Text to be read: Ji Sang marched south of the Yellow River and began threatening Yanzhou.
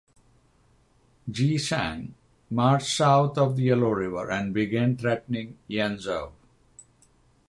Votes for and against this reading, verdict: 6, 3, accepted